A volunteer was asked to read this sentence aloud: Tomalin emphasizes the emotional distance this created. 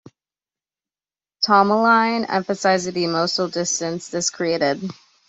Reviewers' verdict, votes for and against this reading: accepted, 2, 0